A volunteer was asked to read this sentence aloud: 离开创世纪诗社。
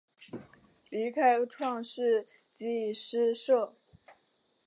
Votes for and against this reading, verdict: 2, 0, accepted